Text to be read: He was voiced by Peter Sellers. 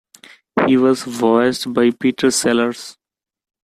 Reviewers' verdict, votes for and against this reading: accepted, 2, 0